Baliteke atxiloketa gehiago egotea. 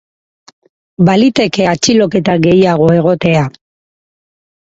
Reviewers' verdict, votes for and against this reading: accepted, 4, 0